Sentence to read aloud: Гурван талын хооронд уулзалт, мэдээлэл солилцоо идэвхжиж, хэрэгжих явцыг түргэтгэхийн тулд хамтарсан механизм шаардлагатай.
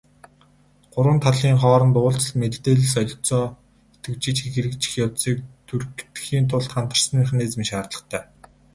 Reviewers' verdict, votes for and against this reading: accepted, 2, 0